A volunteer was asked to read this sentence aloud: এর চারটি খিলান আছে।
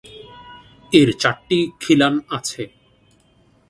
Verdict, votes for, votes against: accepted, 2, 0